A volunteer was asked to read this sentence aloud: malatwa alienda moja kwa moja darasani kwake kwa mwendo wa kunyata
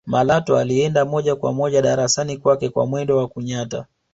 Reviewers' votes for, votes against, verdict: 3, 0, accepted